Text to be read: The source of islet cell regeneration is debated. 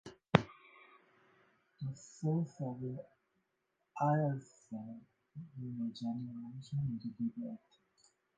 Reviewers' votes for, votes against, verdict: 0, 2, rejected